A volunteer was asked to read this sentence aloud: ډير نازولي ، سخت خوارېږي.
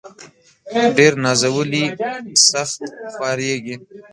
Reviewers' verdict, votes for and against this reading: rejected, 0, 2